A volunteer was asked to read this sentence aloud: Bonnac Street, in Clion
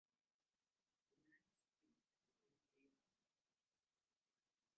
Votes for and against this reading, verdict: 0, 2, rejected